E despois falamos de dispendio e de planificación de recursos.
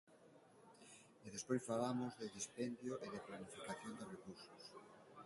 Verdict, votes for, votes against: rejected, 0, 2